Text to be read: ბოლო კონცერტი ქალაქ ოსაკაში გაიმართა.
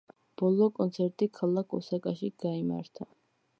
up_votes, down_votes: 2, 0